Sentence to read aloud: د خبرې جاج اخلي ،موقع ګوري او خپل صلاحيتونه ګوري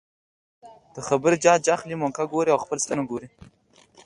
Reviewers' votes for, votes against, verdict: 2, 0, accepted